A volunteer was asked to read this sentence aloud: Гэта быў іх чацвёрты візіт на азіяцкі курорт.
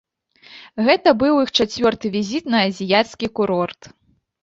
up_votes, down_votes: 2, 0